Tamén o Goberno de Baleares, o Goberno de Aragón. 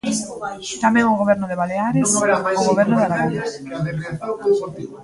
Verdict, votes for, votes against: rejected, 0, 2